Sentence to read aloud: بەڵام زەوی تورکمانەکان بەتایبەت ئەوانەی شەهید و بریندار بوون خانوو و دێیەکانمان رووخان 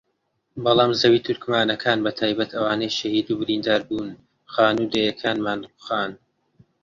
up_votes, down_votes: 2, 0